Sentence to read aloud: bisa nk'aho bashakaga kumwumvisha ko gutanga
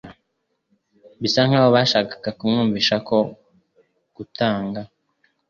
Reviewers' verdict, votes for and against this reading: accepted, 4, 0